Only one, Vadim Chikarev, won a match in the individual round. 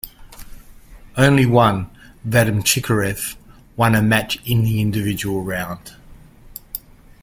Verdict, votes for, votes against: accepted, 2, 0